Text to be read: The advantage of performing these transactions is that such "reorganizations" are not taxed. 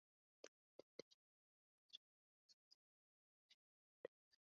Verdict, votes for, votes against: rejected, 0, 2